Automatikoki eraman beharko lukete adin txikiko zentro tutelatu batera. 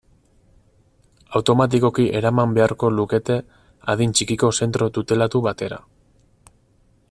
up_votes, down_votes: 4, 2